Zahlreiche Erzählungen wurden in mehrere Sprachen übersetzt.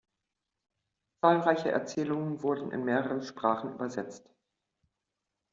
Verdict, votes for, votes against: accepted, 2, 0